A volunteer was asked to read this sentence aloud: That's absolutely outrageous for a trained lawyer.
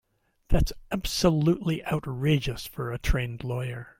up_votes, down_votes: 2, 0